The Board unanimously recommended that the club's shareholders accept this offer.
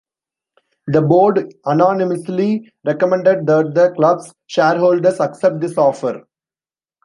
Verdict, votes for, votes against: rejected, 1, 3